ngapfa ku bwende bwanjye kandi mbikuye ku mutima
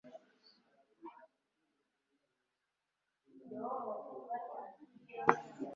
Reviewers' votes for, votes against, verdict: 0, 2, rejected